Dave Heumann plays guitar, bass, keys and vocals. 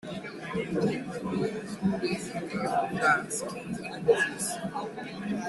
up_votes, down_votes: 0, 2